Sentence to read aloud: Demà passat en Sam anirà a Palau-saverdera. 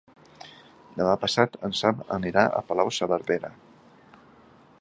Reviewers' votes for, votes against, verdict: 2, 0, accepted